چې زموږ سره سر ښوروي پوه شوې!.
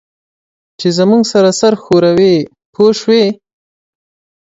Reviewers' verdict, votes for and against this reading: accepted, 2, 0